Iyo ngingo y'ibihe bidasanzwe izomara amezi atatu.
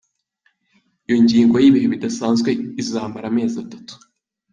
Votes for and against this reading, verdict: 2, 1, accepted